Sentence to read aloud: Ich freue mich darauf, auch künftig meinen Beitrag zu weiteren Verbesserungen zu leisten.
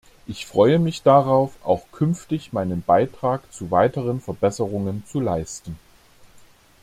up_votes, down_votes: 2, 0